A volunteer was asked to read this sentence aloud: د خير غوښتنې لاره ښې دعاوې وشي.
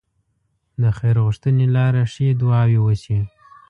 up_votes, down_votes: 2, 0